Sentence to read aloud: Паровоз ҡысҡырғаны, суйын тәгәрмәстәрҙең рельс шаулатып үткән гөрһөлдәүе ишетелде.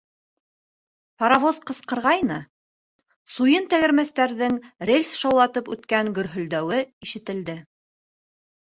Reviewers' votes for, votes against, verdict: 1, 2, rejected